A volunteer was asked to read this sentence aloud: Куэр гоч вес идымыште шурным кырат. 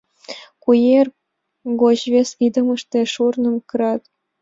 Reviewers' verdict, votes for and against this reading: accepted, 2, 0